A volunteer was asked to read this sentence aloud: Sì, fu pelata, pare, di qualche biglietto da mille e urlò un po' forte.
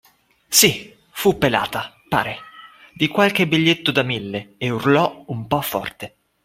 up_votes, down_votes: 2, 0